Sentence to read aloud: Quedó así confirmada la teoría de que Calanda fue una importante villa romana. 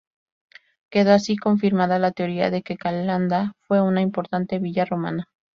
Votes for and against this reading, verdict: 2, 0, accepted